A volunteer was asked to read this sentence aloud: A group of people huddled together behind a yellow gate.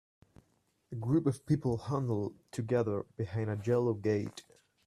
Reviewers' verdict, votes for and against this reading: accepted, 2, 0